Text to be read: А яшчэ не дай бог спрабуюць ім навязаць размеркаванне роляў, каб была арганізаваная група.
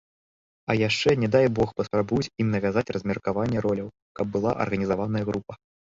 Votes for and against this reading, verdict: 0, 2, rejected